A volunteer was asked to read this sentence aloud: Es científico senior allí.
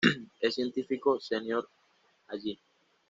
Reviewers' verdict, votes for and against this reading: accepted, 2, 0